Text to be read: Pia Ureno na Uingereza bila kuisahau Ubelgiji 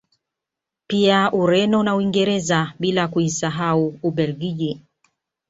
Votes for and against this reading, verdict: 2, 0, accepted